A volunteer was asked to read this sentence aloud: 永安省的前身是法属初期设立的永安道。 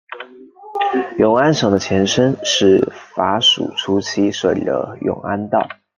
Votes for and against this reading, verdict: 1, 2, rejected